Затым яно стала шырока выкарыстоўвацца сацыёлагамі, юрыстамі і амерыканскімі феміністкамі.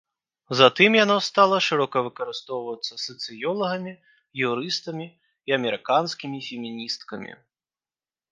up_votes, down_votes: 3, 0